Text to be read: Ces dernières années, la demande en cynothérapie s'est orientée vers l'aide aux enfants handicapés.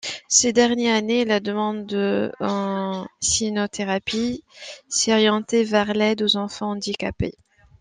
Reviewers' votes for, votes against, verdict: 2, 1, accepted